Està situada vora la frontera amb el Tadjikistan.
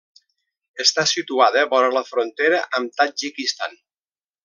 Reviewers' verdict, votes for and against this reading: rejected, 0, 2